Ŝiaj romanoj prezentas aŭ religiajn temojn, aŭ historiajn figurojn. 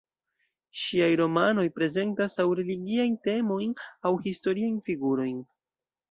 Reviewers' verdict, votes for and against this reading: accepted, 2, 0